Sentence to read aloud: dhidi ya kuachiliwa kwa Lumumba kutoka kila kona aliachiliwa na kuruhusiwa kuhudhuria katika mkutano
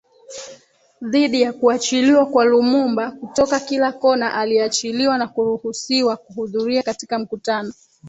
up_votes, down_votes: 3, 1